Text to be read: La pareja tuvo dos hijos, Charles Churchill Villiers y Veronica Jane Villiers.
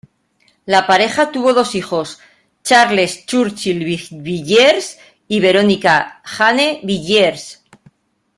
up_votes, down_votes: 0, 2